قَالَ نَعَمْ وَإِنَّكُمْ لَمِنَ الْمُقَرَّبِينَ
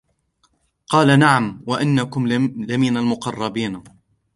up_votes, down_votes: 2, 0